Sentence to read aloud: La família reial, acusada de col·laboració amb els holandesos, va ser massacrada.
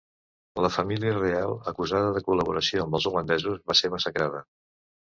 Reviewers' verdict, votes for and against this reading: accepted, 2, 0